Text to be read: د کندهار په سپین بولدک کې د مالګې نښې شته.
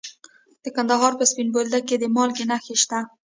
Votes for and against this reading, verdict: 1, 2, rejected